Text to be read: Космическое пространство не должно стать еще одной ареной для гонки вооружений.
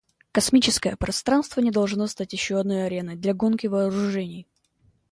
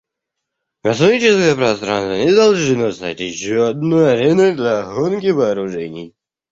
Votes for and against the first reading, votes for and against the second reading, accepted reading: 2, 0, 1, 2, first